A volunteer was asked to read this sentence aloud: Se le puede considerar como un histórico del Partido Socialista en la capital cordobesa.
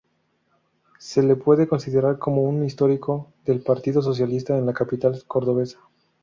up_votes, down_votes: 0, 2